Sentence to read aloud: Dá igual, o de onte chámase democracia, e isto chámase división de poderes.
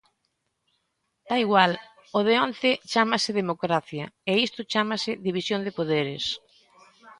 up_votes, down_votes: 2, 0